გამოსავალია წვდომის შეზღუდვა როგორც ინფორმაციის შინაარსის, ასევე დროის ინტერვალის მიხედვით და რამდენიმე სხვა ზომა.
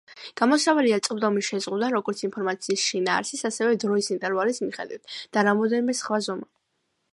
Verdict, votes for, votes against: accepted, 2, 1